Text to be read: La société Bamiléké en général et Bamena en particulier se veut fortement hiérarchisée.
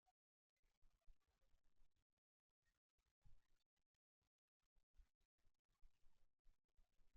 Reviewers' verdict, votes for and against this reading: rejected, 0, 2